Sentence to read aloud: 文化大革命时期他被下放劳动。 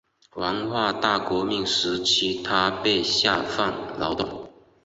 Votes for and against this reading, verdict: 3, 0, accepted